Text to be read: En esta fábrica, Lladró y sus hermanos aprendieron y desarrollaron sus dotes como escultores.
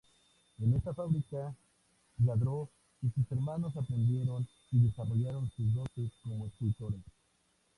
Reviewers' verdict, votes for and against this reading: accepted, 2, 0